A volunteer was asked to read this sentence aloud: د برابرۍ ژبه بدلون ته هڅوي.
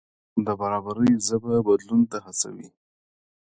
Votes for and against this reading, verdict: 2, 0, accepted